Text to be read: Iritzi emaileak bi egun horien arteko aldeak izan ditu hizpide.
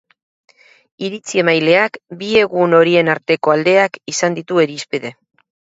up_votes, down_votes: 2, 2